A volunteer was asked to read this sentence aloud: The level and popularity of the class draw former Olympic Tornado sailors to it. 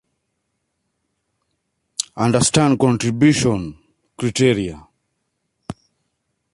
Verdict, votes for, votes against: rejected, 1, 2